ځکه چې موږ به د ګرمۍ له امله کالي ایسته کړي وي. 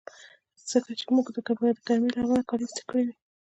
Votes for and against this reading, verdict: 2, 0, accepted